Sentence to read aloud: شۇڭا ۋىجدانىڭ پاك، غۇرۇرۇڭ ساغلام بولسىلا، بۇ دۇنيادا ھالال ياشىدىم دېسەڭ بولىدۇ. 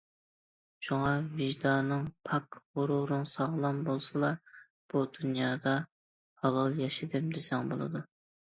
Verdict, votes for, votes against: accepted, 2, 0